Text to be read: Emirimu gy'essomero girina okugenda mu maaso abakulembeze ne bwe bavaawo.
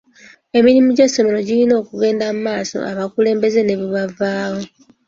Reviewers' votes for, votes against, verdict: 2, 0, accepted